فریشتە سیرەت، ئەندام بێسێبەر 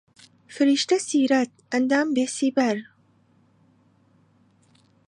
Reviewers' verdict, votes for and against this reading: rejected, 0, 2